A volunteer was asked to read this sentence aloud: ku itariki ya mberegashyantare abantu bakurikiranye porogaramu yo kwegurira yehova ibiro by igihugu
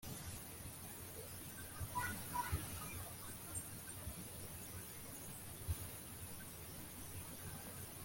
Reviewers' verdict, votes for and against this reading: rejected, 0, 2